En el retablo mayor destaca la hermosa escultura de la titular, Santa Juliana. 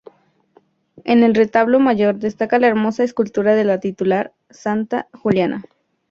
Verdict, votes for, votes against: accepted, 2, 0